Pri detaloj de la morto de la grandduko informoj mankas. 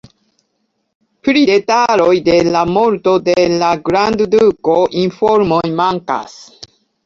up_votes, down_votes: 2, 0